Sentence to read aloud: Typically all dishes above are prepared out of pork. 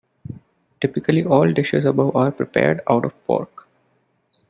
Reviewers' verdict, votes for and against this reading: accepted, 2, 0